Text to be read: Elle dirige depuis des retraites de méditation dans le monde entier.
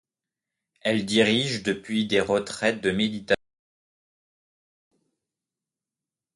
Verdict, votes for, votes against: rejected, 0, 2